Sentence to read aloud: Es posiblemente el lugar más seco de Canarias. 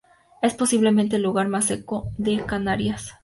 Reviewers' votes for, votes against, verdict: 4, 0, accepted